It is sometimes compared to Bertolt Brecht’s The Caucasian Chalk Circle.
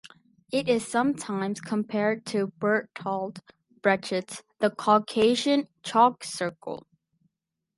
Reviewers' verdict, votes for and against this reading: rejected, 0, 4